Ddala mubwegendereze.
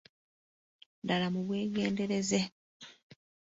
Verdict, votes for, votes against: rejected, 0, 2